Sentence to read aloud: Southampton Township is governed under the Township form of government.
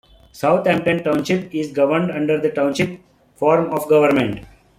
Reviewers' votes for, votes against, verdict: 2, 1, accepted